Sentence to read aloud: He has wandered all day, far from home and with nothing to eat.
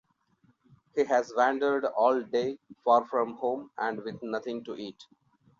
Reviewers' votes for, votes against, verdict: 2, 0, accepted